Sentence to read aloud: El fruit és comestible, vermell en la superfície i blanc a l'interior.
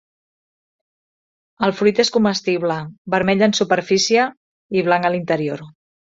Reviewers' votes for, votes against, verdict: 1, 2, rejected